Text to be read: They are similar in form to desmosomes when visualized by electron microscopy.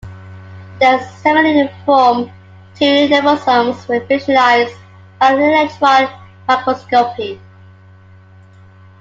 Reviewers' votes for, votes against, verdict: 2, 1, accepted